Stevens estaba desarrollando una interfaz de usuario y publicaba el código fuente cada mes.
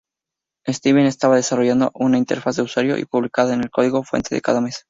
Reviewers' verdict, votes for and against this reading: rejected, 0, 2